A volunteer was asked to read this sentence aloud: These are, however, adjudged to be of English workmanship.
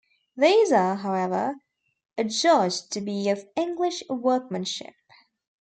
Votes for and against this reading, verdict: 2, 1, accepted